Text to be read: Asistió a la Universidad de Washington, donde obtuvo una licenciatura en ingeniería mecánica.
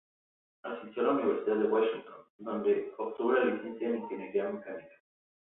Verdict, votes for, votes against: rejected, 0, 2